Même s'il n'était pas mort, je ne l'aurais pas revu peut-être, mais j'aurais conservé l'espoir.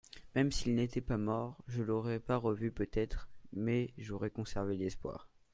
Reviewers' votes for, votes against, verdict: 0, 2, rejected